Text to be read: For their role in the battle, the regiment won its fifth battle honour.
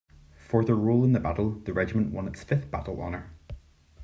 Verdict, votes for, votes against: rejected, 1, 2